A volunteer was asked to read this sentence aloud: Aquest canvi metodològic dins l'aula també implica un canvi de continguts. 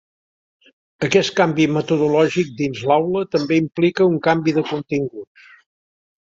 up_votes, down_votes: 2, 0